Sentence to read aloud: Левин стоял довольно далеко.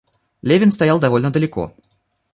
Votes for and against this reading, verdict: 1, 2, rejected